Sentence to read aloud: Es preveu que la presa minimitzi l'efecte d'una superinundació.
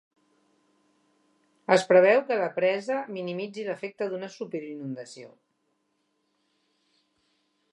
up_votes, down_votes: 2, 0